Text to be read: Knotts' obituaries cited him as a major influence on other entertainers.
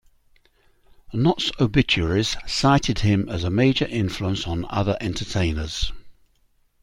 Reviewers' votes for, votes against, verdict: 2, 0, accepted